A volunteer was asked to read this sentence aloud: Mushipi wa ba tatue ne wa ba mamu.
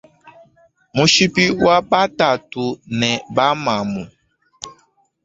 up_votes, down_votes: 1, 2